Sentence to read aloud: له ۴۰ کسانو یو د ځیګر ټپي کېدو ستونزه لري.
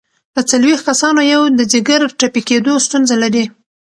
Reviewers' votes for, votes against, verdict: 0, 2, rejected